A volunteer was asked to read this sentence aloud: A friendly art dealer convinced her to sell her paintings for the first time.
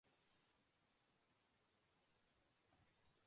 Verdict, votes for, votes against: rejected, 0, 2